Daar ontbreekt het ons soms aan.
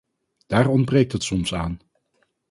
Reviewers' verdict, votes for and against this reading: rejected, 2, 2